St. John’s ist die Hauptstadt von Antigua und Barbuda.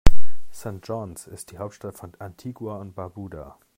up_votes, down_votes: 2, 0